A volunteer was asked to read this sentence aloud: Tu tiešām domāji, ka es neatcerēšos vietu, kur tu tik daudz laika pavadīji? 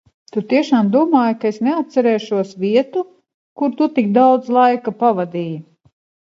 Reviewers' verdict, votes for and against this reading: accepted, 2, 1